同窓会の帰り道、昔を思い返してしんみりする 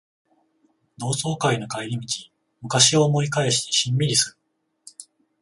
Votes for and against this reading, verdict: 14, 0, accepted